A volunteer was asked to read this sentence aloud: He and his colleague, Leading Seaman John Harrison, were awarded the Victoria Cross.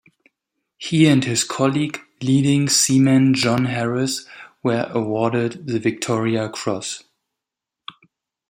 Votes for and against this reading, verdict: 0, 2, rejected